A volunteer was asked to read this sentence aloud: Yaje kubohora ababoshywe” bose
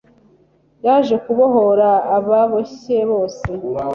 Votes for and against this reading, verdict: 0, 2, rejected